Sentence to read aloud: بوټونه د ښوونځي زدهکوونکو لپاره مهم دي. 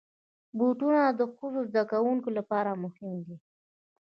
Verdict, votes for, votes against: accepted, 2, 0